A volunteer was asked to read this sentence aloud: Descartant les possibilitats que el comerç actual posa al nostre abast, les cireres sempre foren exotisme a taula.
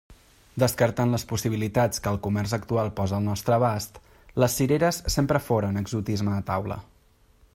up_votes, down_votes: 2, 0